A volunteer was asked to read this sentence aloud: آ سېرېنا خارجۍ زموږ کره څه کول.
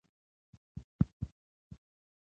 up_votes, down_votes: 2, 1